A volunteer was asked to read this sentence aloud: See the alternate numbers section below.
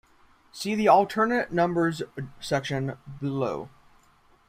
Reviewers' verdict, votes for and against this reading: accepted, 2, 0